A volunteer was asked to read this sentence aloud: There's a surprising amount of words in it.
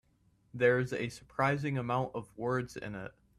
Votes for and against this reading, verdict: 2, 0, accepted